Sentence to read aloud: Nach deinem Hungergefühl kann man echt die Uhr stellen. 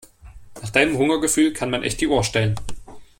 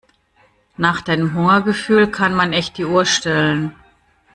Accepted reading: first